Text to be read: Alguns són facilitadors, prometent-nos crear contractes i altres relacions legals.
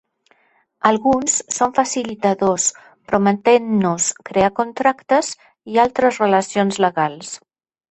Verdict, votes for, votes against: accepted, 2, 0